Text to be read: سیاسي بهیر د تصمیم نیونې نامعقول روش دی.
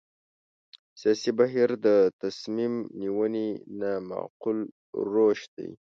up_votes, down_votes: 0, 2